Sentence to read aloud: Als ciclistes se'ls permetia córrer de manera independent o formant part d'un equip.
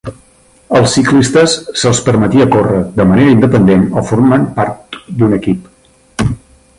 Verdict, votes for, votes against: rejected, 1, 2